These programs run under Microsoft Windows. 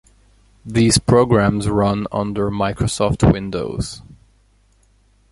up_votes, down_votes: 2, 0